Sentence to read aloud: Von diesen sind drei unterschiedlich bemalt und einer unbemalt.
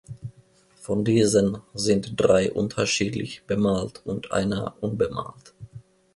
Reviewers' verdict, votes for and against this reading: accepted, 2, 0